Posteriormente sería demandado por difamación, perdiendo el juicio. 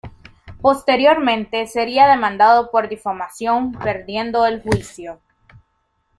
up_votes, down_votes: 2, 0